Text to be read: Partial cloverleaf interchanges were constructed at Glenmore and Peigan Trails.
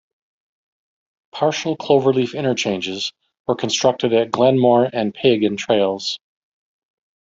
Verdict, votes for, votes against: accepted, 2, 1